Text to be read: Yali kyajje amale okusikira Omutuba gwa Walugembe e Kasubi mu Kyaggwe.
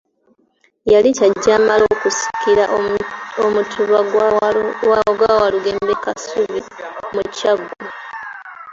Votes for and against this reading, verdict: 0, 3, rejected